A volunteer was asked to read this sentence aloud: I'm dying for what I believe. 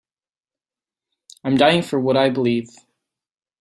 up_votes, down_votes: 2, 0